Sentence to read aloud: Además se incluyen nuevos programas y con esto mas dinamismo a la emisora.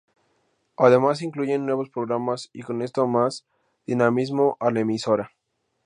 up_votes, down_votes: 2, 0